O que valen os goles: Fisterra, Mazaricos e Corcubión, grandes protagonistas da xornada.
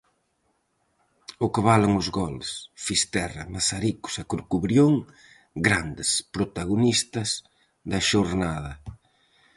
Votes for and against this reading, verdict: 0, 4, rejected